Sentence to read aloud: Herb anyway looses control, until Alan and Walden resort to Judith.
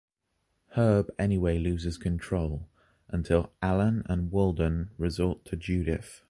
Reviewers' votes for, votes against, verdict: 2, 0, accepted